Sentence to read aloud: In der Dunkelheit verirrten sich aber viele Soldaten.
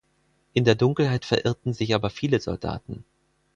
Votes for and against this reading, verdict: 4, 0, accepted